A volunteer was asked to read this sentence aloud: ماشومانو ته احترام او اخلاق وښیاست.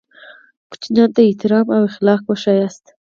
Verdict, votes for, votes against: accepted, 4, 2